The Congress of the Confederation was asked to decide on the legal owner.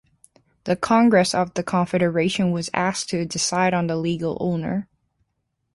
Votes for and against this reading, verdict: 2, 0, accepted